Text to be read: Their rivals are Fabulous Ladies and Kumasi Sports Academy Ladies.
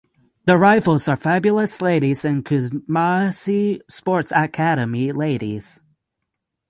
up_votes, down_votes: 0, 6